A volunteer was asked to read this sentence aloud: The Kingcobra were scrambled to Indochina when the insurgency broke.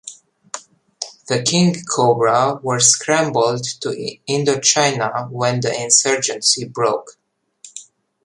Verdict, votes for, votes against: accepted, 2, 0